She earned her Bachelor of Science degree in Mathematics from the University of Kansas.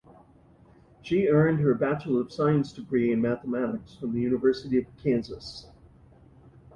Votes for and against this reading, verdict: 2, 0, accepted